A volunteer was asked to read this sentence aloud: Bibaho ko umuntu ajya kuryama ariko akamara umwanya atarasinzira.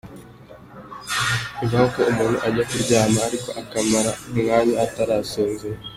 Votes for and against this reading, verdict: 2, 1, accepted